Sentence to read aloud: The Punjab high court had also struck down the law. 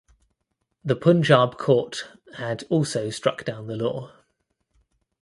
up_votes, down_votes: 0, 2